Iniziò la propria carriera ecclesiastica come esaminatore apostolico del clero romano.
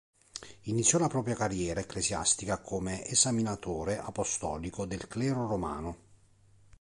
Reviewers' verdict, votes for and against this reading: accepted, 2, 0